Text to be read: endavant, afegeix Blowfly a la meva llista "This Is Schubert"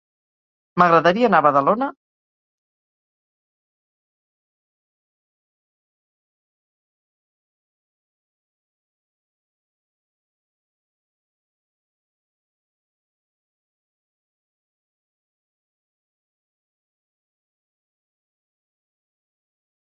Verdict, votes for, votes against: rejected, 0, 4